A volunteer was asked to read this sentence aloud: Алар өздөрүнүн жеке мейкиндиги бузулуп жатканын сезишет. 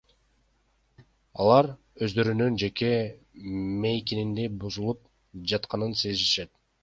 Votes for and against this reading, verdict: 1, 2, rejected